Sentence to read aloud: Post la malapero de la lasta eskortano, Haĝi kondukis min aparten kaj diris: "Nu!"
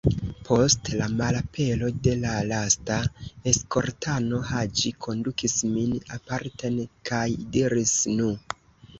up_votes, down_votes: 0, 2